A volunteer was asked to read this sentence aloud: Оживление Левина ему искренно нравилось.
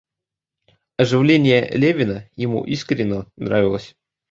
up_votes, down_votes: 2, 1